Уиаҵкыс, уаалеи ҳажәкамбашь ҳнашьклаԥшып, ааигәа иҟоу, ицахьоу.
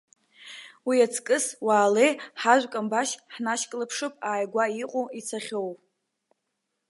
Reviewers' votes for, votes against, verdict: 3, 0, accepted